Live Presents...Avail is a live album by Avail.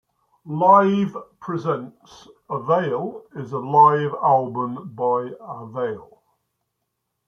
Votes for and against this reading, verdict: 2, 0, accepted